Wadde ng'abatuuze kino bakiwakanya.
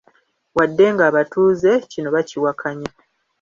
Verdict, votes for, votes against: rejected, 0, 2